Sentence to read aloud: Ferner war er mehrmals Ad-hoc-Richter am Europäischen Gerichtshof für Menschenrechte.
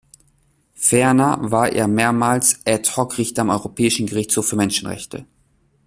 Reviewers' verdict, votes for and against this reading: rejected, 1, 2